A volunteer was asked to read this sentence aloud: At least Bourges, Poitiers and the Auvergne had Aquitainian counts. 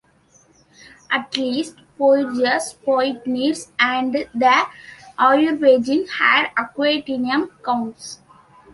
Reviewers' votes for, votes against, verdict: 0, 2, rejected